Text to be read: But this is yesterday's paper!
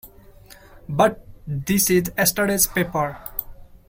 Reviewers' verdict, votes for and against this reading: rejected, 1, 2